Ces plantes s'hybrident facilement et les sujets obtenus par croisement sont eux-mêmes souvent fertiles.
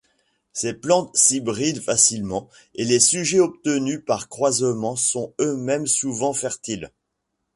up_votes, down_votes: 2, 0